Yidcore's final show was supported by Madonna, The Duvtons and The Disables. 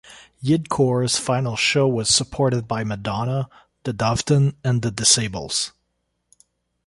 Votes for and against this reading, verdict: 0, 2, rejected